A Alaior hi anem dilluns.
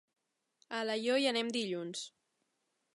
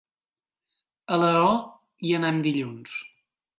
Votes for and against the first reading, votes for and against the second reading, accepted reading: 3, 0, 1, 2, first